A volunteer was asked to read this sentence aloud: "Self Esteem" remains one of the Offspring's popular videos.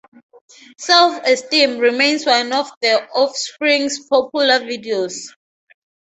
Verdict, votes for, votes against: rejected, 0, 2